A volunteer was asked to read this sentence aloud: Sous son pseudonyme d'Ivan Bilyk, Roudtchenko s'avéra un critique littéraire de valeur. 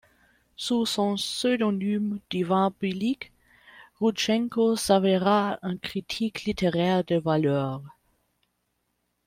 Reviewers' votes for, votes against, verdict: 0, 2, rejected